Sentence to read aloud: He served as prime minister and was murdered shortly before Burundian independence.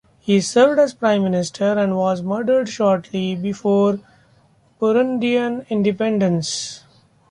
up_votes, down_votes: 2, 1